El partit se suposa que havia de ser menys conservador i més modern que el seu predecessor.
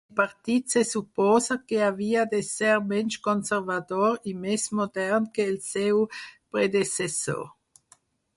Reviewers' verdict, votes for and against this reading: rejected, 4, 6